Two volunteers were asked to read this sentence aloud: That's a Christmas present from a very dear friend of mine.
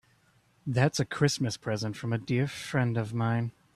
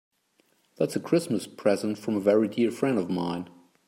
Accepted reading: second